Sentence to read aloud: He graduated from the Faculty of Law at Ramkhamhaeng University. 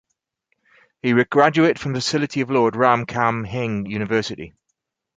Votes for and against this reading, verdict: 2, 2, rejected